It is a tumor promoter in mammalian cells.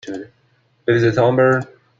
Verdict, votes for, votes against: rejected, 0, 2